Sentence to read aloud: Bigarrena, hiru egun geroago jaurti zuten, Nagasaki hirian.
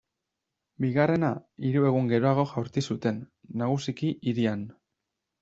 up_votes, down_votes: 0, 2